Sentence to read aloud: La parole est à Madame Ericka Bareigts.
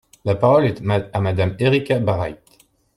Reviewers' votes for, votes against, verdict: 0, 2, rejected